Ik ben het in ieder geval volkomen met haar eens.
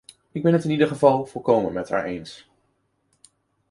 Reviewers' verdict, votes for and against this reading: accepted, 2, 0